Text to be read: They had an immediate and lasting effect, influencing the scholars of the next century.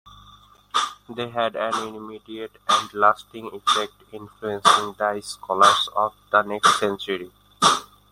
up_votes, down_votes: 1, 2